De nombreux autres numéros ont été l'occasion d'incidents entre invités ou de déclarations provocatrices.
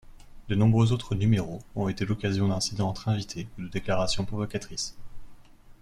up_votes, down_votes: 1, 2